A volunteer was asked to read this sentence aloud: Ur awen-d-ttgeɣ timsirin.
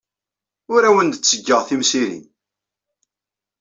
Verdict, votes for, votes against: rejected, 0, 2